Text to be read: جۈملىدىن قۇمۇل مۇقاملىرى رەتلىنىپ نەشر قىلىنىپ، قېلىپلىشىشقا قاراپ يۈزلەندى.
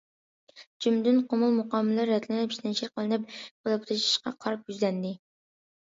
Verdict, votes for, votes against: rejected, 0, 2